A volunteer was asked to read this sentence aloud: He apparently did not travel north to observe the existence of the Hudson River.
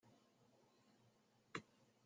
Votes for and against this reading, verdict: 0, 2, rejected